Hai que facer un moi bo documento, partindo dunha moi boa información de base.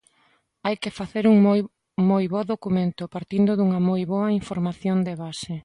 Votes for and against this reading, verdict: 0, 2, rejected